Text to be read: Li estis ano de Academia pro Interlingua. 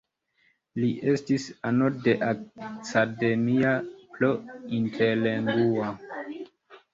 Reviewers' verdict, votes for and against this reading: rejected, 1, 2